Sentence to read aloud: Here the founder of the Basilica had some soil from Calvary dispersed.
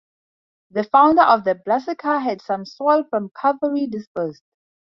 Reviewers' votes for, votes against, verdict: 0, 2, rejected